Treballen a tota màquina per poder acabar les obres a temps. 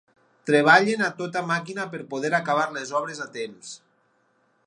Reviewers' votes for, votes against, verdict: 6, 0, accepted